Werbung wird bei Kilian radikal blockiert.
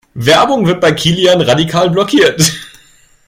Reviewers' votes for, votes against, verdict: 1, 2, rejected